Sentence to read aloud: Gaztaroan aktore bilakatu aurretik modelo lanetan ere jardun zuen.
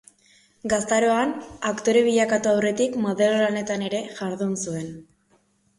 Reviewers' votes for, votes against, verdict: 2, 0, accepted